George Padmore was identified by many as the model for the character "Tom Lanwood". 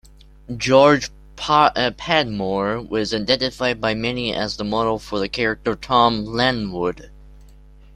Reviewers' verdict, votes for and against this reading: accepted, 2, 0